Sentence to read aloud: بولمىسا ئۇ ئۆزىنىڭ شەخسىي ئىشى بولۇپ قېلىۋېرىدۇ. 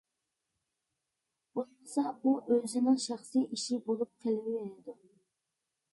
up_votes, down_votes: 0, 2